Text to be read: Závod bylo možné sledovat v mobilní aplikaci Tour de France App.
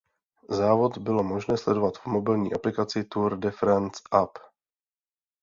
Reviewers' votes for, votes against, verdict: 2, 0, accepted